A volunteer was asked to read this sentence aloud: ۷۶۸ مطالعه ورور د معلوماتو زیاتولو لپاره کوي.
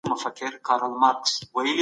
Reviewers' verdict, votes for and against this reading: rejected, 0, 2